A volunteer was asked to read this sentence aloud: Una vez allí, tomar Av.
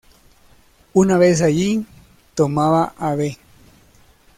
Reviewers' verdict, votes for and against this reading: rejected, 0, 2